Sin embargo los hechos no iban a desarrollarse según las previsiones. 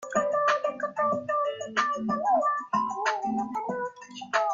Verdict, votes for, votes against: rejected, 0, 2